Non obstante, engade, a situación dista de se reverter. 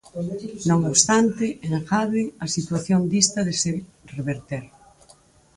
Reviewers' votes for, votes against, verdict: 2, 4, rejected